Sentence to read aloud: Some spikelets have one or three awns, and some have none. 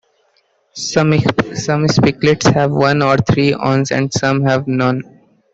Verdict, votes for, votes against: rejected, 1, 2